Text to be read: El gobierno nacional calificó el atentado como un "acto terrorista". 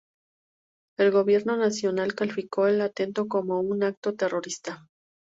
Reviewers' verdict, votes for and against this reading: rejected, 0, 2